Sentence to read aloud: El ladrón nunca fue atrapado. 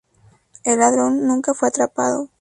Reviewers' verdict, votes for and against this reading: accepted, 2, 0